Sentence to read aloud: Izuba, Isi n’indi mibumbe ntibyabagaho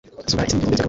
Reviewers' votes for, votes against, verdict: 1, 2, rejected